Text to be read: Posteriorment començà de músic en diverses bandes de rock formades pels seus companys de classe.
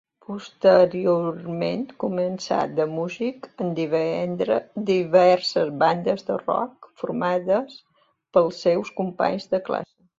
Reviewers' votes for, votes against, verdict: 0, 3, rejected